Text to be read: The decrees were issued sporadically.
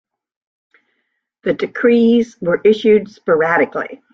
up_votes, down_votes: 2, 0